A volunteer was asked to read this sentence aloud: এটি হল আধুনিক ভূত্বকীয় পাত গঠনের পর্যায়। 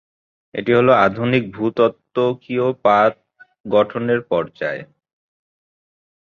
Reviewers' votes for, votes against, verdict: 0, 2, rejected